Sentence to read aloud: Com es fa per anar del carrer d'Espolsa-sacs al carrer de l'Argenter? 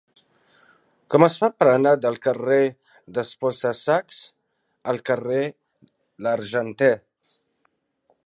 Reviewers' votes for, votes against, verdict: 0, 2, rejected